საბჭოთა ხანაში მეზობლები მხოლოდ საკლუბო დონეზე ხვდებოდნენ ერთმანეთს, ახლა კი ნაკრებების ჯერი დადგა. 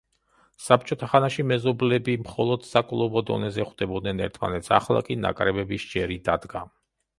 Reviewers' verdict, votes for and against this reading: rejected, 1, 2